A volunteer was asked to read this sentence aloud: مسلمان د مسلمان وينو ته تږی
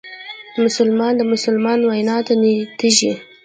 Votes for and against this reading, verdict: 1, 2, rejected